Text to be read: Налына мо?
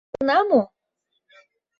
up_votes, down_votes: 0, 2